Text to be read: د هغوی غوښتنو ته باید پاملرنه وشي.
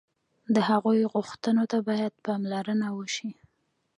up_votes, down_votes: 2, 0